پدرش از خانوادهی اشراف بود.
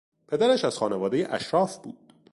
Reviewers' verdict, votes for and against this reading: accepted, 2, 0